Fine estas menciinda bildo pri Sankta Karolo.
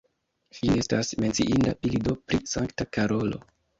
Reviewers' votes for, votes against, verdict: 1, 2, rejected